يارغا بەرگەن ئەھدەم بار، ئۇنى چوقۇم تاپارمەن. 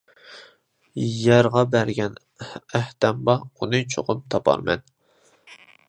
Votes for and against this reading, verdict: 2, 1, accepted